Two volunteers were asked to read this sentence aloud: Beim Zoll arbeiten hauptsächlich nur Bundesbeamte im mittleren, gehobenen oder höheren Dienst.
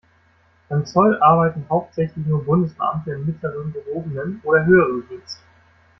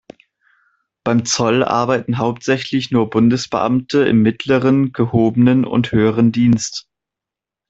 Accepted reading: first